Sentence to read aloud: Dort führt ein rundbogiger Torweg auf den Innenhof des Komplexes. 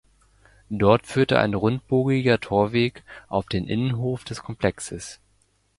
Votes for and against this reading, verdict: 2, 1, accepted